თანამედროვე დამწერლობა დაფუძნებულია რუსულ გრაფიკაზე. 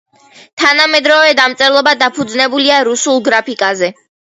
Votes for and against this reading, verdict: 1, 2, rejected